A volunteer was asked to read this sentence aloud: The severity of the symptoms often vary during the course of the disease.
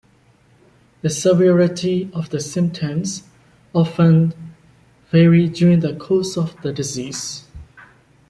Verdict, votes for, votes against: accepted, 2, 0